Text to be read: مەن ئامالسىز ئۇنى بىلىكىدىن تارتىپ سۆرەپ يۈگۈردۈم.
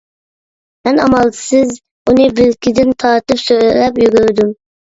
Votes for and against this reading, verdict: 2, 1, accepted